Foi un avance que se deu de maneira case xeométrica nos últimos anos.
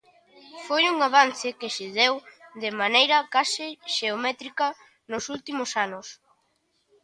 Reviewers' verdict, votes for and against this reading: accepted, 2, 0